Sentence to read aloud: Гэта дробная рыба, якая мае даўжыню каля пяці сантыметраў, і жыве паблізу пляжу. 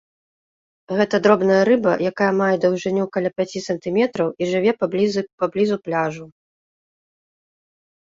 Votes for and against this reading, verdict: 1, 2, rejected